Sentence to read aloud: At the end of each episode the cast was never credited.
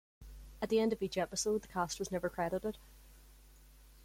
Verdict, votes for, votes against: rejected, 1, 2